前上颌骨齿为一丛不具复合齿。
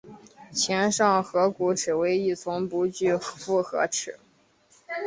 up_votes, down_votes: 5, 0